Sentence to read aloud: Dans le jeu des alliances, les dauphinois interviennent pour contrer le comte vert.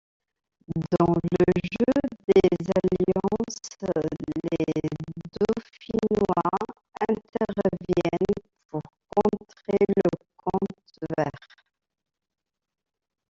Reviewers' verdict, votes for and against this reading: accepted, 2, 0